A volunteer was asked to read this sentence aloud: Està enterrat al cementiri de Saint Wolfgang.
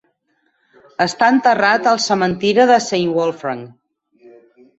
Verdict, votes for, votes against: rejected, 0, 4